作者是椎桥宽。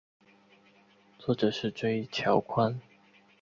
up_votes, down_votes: 3, 0